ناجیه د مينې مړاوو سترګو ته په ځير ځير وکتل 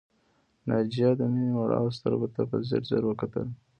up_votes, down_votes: 1, 2